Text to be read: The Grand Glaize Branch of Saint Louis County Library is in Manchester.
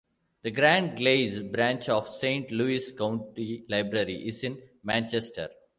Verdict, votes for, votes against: rejected, 1, 2